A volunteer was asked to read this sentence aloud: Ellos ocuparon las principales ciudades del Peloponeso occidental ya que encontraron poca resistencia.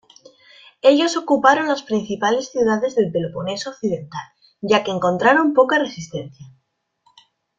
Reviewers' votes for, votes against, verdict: 2, 0, accepted